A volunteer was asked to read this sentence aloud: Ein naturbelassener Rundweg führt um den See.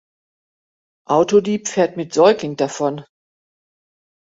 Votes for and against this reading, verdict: 0, 2, rejected